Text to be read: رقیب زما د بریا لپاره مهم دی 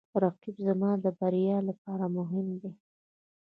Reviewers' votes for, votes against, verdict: 2, 0, accepted